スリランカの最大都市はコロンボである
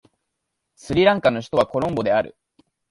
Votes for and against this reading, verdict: 1, 2, rejected